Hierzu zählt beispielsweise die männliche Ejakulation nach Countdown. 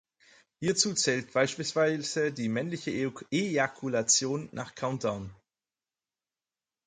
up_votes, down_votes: 0, 4